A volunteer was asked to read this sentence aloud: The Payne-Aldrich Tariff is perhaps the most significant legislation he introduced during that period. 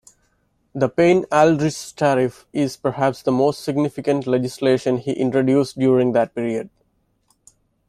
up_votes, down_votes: 2, 0